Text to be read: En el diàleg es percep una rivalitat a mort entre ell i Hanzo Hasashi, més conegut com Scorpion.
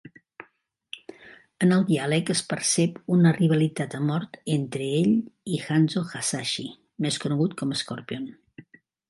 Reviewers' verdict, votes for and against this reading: accepted, 2, 0